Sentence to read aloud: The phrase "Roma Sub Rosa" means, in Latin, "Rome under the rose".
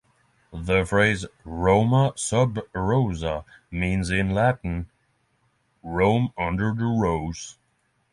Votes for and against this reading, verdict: 6, 0, accepted